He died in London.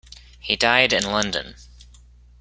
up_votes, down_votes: 2, 0